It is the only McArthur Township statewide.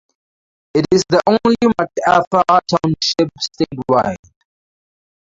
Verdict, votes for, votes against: rejected, 0, 4